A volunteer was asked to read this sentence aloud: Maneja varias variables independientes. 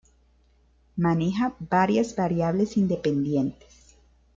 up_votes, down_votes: 2, 0